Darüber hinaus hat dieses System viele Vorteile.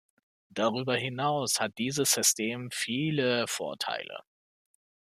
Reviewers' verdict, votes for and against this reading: accepted, 2, 0